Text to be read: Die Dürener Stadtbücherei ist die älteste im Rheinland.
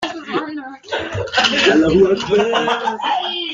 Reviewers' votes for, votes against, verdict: 0, 2, rejected